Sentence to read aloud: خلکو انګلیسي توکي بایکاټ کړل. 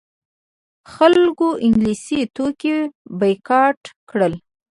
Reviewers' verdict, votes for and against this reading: rejected, 1, 2